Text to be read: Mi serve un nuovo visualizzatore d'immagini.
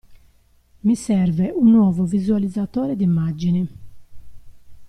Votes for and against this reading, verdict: 2, 0, accepted